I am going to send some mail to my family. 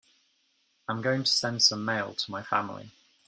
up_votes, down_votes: 2, 1